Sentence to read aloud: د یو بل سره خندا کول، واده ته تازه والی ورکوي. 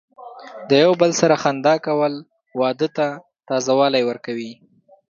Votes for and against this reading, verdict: 3, 0, accepted